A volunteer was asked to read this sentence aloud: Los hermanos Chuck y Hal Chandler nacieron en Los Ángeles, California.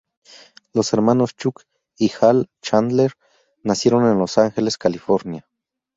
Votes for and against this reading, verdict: 0, 2, rejected